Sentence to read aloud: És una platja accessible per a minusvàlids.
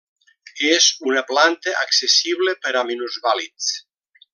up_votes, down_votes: 0, 2